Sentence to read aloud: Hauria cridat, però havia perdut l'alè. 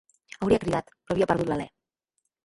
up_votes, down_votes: 1, 2